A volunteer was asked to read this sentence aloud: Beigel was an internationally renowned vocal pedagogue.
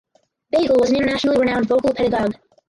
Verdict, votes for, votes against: rejected, 2, 2